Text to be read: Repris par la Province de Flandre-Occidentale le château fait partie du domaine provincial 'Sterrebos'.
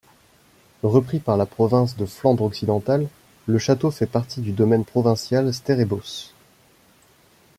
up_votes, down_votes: 2, 1